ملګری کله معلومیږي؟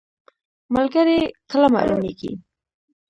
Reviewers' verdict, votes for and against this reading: rejected, 1, 2